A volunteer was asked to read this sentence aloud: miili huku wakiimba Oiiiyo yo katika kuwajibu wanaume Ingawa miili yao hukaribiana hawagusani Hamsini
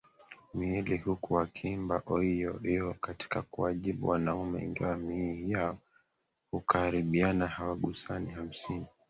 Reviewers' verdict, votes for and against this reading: rejected, 0, 2